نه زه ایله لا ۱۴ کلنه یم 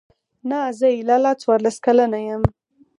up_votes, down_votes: 0, 2